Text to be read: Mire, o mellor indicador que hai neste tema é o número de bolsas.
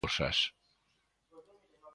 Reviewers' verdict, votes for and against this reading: rejected, 0, 2